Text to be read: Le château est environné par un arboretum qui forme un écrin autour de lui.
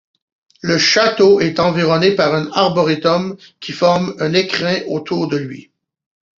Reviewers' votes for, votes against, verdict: 2, 0, accepted